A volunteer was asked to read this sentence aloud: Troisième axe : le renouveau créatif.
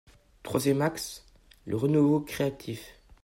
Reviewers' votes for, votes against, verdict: 2, 0, accepted